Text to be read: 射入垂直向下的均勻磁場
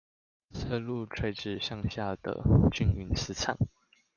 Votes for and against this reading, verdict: 2, 0, accepted